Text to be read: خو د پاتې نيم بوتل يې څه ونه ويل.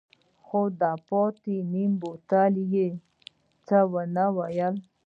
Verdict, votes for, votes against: accepted, 3, 1